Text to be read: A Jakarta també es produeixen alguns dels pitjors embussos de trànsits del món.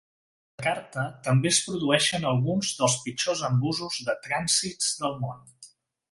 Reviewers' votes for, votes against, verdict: 1, 2, rejected